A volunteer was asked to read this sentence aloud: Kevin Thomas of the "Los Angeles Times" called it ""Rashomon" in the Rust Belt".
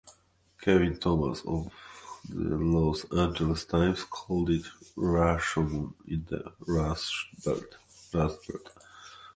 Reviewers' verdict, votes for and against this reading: rejected, 1, 2